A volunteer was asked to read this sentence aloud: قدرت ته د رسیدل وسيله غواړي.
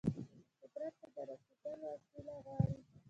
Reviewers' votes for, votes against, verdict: 1, 2, rejected